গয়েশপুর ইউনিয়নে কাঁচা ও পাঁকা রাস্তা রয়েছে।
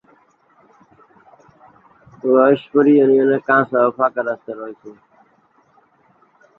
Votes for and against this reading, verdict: 0, 2, rejected